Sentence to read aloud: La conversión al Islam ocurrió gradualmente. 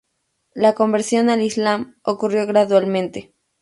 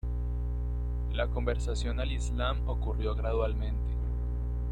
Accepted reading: first